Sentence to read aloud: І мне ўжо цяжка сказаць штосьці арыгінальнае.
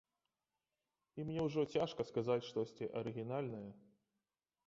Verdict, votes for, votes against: accepted, 3, 0